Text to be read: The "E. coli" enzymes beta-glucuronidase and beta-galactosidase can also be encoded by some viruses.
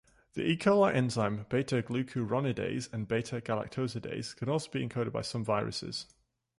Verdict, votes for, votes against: rejected, 0, 2